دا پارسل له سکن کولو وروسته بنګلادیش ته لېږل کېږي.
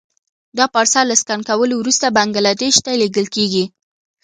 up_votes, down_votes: 2, 0